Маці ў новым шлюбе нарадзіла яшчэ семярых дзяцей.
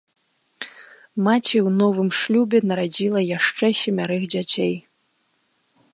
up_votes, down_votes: 2, 0